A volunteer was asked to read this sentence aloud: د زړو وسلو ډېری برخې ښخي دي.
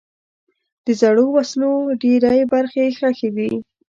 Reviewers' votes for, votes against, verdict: 2, 0, accepted